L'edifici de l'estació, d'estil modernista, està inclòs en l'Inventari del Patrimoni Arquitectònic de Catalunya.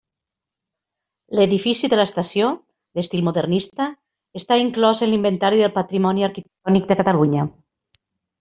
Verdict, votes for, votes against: rejected, 1, 2